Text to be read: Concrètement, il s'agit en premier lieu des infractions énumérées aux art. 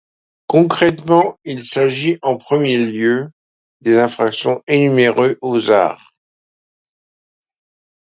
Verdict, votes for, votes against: accepted, 2, 0